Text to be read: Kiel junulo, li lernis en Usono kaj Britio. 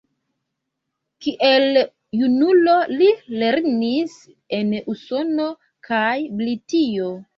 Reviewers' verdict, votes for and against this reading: rejected, 1, 2